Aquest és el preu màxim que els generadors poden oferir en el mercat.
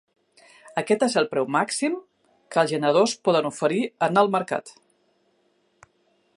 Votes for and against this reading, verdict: 4, 1, accepted